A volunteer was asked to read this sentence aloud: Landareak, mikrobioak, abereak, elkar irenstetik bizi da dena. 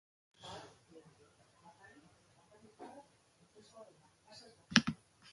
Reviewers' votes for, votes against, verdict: 0, 2, rejected